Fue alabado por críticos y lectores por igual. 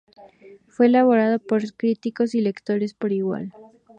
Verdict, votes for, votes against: rejected, 0, 2